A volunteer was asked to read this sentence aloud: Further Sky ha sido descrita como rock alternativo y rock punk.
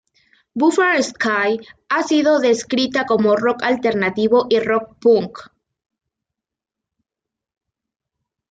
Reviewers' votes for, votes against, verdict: 0, 2, rejected